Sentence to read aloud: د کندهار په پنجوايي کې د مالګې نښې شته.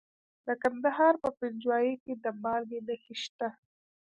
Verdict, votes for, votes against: rejected, 1, 2